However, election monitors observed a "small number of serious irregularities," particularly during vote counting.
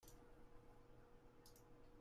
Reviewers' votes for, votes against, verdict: 0, 2, rejected